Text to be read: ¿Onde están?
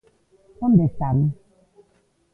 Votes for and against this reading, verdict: 2, 1, accepted